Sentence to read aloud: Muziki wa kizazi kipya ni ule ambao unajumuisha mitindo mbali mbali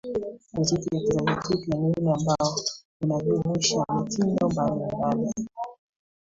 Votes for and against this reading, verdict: 1, 2, rejected